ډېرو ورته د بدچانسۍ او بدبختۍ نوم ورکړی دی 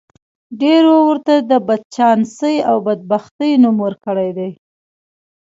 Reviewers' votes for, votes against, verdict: 1, 2, rejected